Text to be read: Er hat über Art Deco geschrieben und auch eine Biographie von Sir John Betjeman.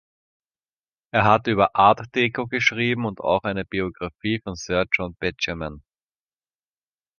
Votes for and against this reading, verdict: 3, 0, accepted